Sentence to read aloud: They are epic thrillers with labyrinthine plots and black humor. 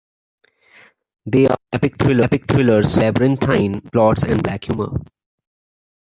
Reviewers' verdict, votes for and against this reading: rejected, 0, 2